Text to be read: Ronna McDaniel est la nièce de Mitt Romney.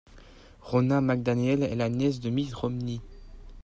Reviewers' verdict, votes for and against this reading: accepted, 2, 1